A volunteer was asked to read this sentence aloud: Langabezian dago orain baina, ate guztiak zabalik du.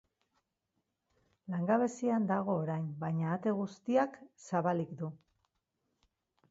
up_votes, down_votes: 4, 0